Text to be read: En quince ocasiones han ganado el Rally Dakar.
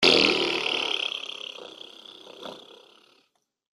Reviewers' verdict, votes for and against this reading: rejected, 0, 3